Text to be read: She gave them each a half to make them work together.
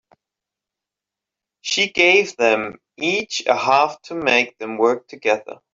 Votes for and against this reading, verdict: 3, 1, accepted